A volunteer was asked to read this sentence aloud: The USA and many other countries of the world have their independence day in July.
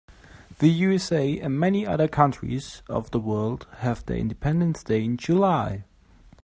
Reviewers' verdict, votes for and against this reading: accepted, 3, 0